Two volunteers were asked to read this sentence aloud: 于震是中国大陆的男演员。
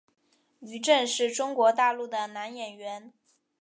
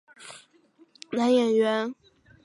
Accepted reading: first